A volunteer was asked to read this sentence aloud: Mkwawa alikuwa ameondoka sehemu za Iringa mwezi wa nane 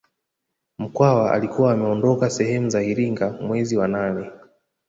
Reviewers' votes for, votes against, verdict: 2, 0, accepted